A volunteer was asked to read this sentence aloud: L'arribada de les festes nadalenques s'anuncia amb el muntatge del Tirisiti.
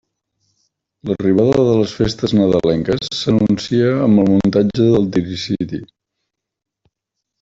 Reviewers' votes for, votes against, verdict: 1, 2, rejected